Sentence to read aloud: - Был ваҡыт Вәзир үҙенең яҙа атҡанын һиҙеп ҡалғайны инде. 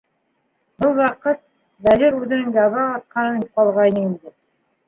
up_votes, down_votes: 0, 2